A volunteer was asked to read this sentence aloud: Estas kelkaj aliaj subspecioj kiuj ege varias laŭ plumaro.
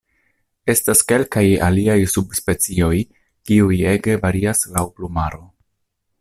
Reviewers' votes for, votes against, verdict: 2, 0, accepted